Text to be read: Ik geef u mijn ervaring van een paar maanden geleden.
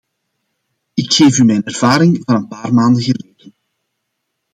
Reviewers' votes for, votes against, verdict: 0, 2, rejected